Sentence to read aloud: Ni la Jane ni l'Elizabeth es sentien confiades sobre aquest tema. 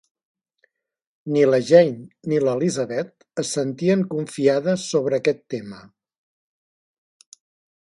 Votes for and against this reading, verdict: 3, 0, accepted